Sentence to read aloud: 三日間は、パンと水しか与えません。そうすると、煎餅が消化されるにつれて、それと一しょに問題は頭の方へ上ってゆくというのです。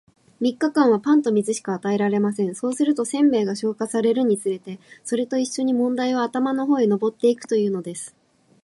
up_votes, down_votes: 2, 2